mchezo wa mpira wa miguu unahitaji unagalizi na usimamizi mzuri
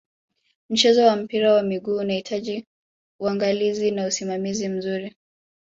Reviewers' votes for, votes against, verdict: 2, 1, accepted